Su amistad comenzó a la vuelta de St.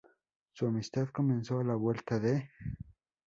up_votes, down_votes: 0, 2